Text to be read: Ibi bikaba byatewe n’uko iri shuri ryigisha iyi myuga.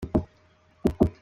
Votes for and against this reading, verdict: 0, 2, rejected